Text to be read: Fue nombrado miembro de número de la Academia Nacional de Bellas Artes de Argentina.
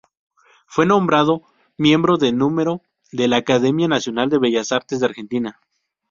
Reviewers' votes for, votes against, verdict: 0, 2, rejected